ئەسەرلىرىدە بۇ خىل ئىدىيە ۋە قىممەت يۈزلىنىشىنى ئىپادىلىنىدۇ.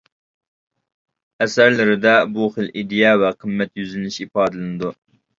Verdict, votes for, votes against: rejected, 0, 2